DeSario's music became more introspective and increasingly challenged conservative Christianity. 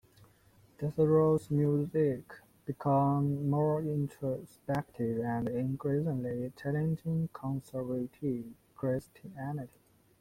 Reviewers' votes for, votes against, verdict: 0, 2, rejected